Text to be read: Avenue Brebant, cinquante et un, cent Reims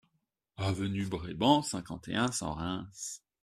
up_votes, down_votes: 2, 0